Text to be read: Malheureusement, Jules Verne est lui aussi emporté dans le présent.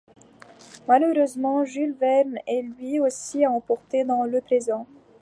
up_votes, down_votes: 2, 1